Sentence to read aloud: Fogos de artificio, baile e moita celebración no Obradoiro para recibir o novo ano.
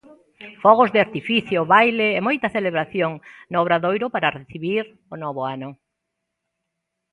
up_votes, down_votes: 2, 1